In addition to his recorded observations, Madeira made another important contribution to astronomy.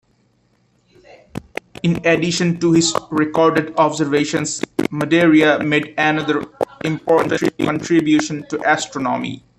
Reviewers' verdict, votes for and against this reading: rejected, 0, 2